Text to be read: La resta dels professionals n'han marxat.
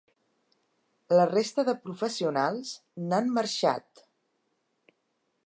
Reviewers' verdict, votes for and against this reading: rejected, 0, 2